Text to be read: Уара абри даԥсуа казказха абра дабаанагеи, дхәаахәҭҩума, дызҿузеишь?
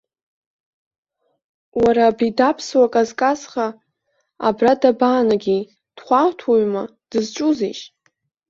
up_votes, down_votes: 1, 2